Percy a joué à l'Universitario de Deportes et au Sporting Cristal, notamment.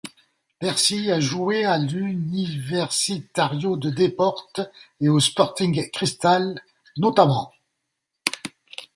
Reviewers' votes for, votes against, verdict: 0, 2, rejected